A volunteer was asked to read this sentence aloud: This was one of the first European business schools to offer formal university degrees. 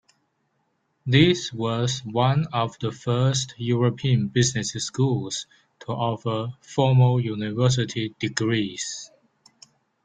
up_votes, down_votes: 1, 2